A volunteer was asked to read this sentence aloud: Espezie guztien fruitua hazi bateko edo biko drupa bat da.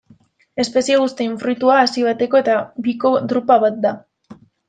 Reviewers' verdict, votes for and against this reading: rejected, 0, 2